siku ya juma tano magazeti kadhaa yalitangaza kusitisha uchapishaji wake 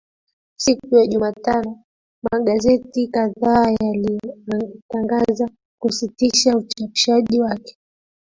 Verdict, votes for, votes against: rejected, 0, 3